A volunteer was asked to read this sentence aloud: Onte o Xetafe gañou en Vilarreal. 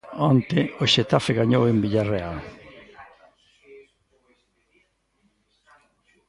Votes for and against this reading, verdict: 0, 2, rejected